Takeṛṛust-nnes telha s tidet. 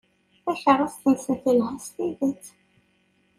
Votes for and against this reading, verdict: 1, 2, rejected